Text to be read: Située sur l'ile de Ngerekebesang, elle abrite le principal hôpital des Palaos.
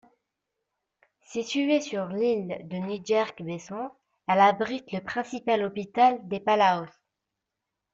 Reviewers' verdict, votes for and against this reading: rejected, 1, 2